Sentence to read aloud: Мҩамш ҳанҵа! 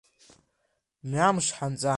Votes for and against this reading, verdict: 2, 0, accepted